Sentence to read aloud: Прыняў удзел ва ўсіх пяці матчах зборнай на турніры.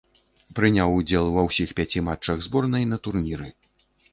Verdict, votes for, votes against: accepted, 2, 0